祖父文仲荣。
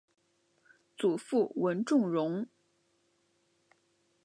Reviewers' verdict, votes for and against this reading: rejected, 2, 2